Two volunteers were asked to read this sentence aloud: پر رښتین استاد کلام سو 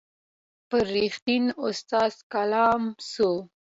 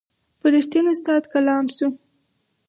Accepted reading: first